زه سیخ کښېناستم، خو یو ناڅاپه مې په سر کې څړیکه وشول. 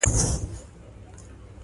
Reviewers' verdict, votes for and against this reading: rejected, 0, 2